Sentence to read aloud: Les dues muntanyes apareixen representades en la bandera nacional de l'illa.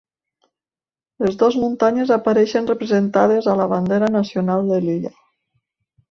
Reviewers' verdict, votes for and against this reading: rejected, 0, 2